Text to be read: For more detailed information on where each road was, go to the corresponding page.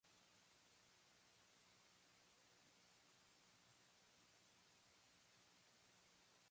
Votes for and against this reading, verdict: 0, 2, rejected